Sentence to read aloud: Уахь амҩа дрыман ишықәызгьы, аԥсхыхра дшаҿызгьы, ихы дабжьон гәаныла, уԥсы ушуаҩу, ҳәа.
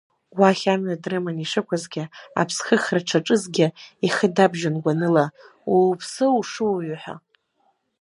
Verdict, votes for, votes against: rejected, 1, 2